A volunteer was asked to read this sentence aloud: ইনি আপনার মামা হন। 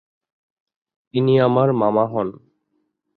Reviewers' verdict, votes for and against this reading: rejected, 0, 2